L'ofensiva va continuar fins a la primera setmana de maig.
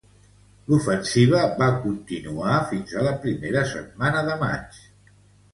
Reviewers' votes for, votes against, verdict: 2, 0, accepted